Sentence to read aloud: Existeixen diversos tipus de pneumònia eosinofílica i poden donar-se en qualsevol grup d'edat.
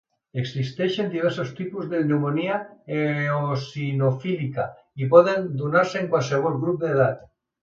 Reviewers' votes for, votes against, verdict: 0, 2, rejected